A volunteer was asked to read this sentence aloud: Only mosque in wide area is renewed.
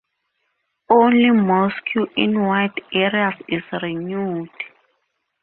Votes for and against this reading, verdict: 0, 2, rejected